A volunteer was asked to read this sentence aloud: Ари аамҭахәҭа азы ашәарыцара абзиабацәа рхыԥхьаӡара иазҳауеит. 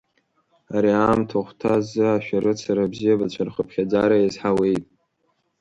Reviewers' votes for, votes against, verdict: 2, 1, accepted